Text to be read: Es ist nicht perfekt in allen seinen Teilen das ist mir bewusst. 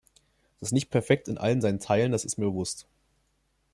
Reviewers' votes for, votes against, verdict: 2, 0, accepted